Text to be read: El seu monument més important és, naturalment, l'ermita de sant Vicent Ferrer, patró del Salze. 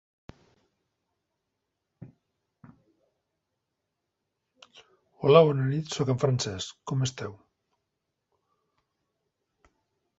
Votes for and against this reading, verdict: 0, 2, rejected